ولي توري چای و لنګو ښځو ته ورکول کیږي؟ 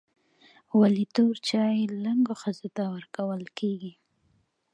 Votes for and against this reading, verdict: 2, 0, accepted